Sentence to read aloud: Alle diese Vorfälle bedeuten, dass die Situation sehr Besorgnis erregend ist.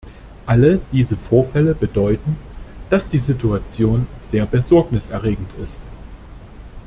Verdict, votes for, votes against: accepted, 2, 0